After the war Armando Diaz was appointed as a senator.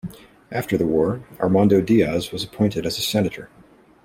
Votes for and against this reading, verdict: 0, 2, rejected